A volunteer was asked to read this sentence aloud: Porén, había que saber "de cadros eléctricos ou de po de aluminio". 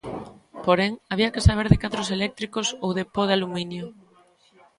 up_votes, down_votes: 1, 2